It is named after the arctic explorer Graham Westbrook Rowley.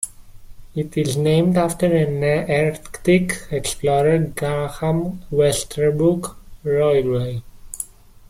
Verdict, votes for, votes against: rejected, 0, 2